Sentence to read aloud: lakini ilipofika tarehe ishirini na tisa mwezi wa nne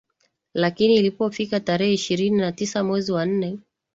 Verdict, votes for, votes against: accepted, 2, 0